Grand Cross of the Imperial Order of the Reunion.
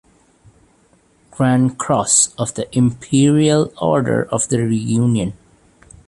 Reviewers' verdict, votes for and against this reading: accepted, 2, 0